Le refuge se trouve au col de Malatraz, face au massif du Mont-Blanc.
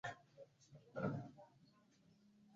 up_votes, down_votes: 0, 2